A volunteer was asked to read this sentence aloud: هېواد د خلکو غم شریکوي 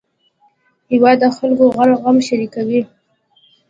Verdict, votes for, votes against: accepted, 2, 0